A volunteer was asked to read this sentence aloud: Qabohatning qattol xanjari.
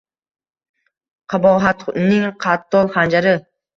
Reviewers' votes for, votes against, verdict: 2, 0, accepted